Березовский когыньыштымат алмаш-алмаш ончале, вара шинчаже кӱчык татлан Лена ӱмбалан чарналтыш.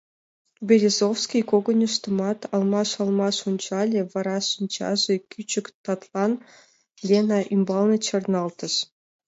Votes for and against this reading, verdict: 0, 2, rejected